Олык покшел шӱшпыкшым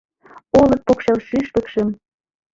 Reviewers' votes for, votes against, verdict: 0, 2, rejected